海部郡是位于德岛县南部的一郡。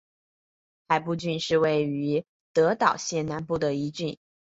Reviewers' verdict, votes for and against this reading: accepted, 3, 0